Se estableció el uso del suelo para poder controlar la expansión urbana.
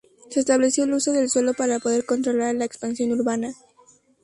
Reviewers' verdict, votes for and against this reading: accepted, 2, 0